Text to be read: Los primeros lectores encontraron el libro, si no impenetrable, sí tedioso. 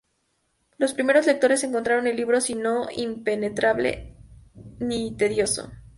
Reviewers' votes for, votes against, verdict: 0, 4, rejected